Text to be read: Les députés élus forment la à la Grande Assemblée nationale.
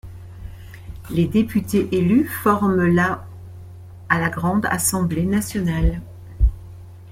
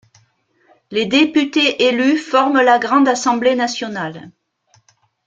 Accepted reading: first